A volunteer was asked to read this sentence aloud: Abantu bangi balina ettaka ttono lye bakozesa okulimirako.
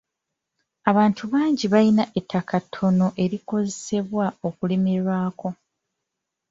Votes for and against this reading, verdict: 0, 2, rejected